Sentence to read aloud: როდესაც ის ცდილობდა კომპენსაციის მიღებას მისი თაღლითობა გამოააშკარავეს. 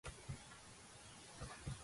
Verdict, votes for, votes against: rejected, 0, 2